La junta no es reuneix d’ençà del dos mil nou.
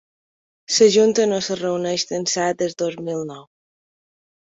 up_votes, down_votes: 2, 1